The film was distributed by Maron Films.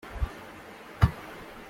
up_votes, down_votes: 0, 2